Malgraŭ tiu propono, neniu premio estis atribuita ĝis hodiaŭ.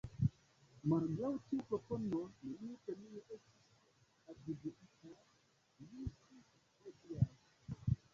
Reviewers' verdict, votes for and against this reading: accepted, 3, 0